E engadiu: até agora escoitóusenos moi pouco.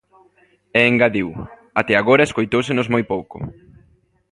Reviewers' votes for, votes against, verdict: 1, 2, rejected